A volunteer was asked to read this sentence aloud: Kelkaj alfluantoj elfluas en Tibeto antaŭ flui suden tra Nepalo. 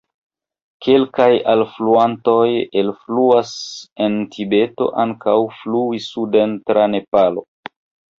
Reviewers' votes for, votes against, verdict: 1, 3, rejected